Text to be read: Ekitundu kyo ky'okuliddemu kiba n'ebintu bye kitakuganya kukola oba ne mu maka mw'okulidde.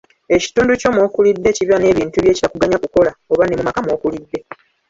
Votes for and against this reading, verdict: 2, 0, accepted